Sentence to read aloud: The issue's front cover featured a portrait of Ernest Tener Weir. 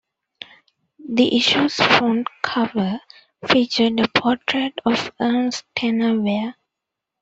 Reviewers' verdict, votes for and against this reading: accepted, 2, 1